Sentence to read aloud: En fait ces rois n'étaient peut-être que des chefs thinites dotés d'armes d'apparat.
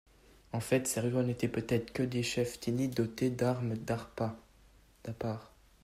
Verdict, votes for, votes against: rejected, 1, 2